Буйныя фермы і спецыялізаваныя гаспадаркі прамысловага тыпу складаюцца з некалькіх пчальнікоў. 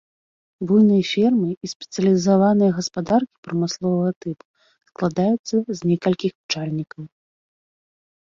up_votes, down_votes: 1, 2